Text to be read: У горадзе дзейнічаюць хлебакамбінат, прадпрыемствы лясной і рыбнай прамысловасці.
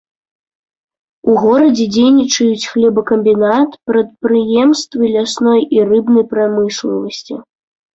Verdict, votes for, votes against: rejected, 1, 2